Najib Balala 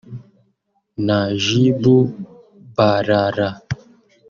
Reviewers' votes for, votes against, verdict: 1, 3, rejected